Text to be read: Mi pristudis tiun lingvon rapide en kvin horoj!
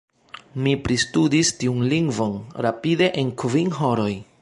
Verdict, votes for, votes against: accepted, 2, 0